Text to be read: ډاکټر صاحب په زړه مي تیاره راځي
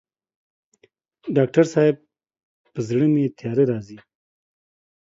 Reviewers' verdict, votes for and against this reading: accepted, 2, 0